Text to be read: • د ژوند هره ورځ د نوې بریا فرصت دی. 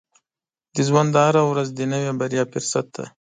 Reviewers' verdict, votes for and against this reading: accepted, 2, 0